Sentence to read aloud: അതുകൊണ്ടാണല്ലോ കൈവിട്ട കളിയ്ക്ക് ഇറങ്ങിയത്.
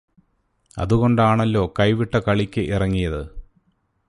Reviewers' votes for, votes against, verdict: 2, 0, accepted